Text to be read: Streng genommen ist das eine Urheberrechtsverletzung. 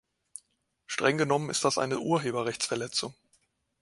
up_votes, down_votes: 2, 0